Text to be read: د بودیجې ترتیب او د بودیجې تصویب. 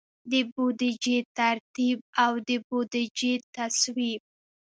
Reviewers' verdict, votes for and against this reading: accepted, 2, 0